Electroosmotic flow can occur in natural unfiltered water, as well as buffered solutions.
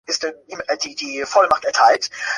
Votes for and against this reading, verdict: 1, 2, rejected